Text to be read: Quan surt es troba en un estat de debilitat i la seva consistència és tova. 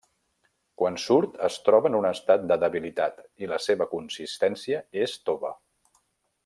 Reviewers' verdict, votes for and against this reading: accepted, 3, 0